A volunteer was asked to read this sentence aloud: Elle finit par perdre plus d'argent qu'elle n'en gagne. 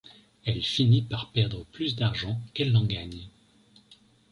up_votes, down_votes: 2, 0